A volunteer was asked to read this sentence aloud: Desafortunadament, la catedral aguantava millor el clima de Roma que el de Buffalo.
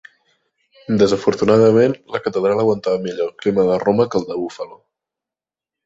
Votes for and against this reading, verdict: 2, 0, accepted